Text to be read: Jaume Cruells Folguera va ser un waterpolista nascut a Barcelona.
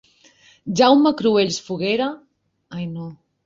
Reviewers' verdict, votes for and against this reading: rejected, 0, 3